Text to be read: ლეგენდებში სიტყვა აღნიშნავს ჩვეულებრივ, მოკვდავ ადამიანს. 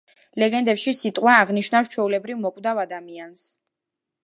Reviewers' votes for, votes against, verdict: 2, 0, accepted